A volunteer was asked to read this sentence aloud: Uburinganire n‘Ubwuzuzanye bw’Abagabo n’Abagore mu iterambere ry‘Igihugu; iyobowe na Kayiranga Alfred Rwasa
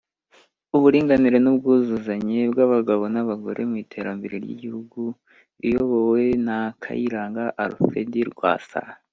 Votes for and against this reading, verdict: 2, 0, accepted